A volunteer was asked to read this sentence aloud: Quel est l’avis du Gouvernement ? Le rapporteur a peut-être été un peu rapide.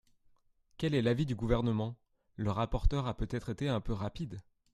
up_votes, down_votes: 2, 0